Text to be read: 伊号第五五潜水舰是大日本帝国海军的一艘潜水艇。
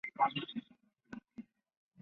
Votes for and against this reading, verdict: 0, 3, rejected